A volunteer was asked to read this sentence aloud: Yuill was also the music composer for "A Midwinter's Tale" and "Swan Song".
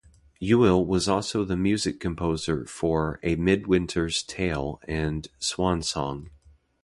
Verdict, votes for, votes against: accepted, 2, 0